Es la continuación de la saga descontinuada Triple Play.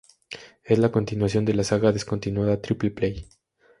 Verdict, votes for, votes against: accepted, 2, 0